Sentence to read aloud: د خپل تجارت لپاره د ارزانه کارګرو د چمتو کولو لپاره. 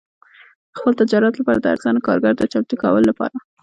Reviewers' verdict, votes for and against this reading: accepted, 2, 0